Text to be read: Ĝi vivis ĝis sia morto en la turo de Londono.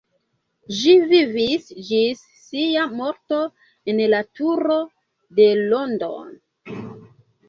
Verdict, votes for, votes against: accepted, 2, 1